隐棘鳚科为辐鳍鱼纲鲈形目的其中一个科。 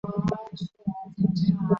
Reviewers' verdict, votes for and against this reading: rejected, 0, 2